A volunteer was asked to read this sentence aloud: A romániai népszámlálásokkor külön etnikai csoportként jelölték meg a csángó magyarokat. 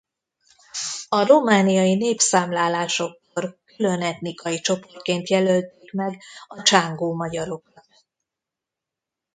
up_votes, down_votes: 1, 2